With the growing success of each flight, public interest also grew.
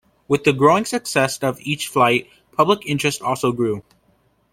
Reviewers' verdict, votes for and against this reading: accepted, 2, 0